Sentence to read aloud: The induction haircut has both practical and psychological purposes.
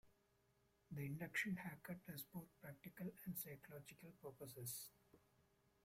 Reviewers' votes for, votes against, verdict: 0, 2, rejected